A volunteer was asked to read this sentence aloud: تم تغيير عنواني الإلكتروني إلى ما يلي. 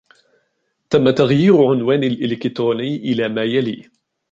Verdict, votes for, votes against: rejected, 1, 2